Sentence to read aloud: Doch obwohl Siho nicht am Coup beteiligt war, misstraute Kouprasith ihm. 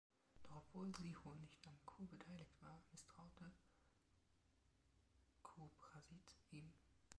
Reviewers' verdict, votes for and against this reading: rejected, 0, 2